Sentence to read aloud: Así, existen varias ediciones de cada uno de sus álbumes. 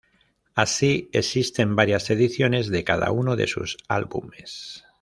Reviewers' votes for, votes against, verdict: 2, 0, accepted